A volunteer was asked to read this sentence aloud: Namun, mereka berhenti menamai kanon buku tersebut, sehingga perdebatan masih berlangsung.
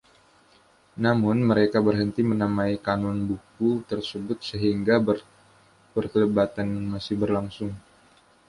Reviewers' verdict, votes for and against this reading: rejected, 1, 2